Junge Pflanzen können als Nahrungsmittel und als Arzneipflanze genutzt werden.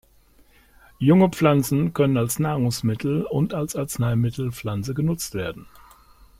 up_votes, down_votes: 1, 2